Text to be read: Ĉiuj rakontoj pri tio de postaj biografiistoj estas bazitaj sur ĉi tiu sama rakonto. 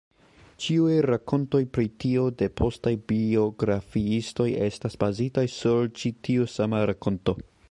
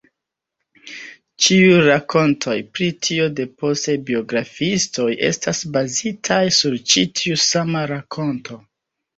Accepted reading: first